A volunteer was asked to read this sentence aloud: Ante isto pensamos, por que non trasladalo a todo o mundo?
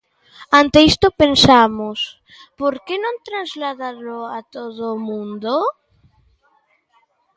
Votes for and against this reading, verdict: 2, 0, accepted